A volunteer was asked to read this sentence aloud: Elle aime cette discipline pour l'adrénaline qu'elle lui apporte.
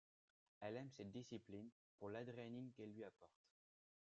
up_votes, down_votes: 2, 1